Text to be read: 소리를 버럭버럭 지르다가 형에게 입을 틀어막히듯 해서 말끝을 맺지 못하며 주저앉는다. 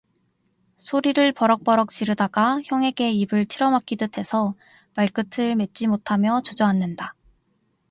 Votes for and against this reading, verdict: 2, 0, accepted